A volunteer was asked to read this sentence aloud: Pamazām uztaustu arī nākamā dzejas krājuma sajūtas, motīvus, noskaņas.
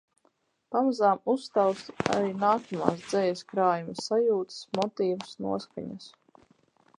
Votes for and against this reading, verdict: 0, 6, rejected